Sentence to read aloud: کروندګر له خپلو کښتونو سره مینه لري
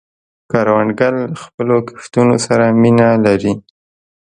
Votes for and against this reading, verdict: 2, 0, accepted